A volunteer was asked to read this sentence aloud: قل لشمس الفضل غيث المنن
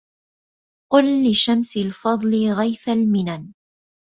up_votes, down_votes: 2, 0